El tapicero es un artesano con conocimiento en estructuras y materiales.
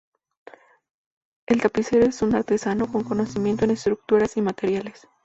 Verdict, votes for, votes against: rejected, 0, 2